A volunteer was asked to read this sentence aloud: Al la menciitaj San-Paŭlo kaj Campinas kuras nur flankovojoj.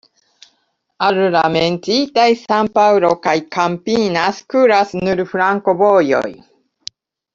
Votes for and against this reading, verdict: 2, 0, accepted